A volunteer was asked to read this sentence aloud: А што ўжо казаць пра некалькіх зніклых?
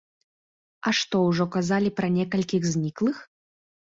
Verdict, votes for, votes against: rejected, 0, 2